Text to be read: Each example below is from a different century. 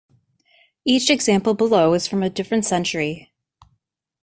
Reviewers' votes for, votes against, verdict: 2, 0, accepted